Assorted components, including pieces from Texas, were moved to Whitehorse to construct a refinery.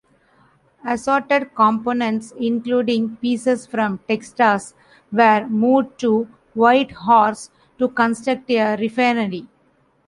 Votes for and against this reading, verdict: 0, 2, rejected